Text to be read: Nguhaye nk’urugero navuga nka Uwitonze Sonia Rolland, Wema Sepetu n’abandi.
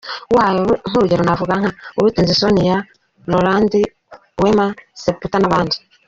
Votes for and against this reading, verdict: 0, 3, rejected